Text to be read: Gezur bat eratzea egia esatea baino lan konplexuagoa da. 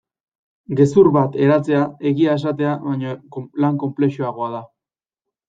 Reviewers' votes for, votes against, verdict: 1, 2, rejected